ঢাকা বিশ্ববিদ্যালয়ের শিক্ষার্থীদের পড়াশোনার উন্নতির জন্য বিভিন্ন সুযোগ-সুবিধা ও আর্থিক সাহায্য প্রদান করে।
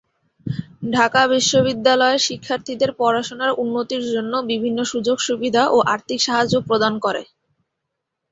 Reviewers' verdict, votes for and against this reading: accepted, 16, 0